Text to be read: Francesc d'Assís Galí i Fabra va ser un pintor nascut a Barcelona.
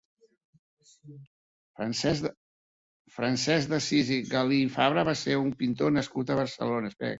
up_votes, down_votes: 0, 2